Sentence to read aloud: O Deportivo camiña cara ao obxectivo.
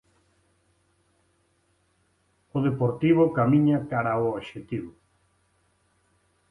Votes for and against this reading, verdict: 2, 0, accepted